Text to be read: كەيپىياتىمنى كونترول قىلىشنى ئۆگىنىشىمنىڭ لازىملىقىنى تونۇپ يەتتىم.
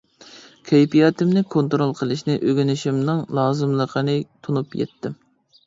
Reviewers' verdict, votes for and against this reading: accepted, 2, 0